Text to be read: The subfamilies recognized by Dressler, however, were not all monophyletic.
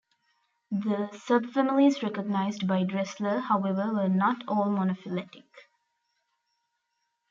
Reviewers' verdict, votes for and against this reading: accepted, 2, 0